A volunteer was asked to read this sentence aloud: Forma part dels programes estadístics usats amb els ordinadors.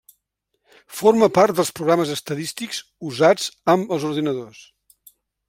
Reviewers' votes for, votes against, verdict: 1, 2, rejected